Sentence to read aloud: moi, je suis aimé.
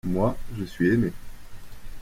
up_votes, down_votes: 2, 1